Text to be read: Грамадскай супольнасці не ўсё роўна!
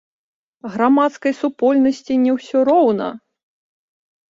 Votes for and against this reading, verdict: 1, 2, rejected